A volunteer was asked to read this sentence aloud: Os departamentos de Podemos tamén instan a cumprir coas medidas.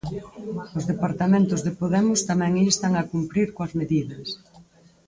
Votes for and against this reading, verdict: 4, 0, accepted